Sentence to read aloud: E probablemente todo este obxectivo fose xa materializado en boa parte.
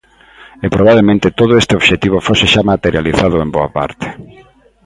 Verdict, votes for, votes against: accepted, 2, 0